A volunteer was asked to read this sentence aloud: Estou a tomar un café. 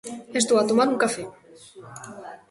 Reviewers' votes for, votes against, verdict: 0, 2, rejected